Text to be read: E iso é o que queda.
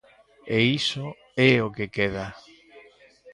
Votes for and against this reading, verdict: 3, 1, accepted